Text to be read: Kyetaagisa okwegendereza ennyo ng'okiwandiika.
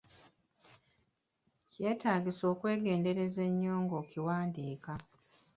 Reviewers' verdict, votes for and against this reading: rejected, 0, 2